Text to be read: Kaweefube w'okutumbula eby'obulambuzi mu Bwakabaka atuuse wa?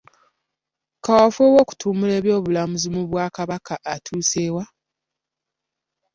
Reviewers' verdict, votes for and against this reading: accepted, 2, 0